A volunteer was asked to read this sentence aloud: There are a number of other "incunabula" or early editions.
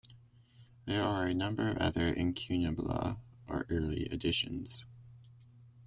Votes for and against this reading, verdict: 1, 2, rejected